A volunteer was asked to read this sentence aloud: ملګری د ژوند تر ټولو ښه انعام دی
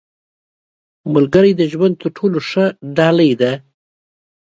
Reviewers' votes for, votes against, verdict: 0, 2, rejected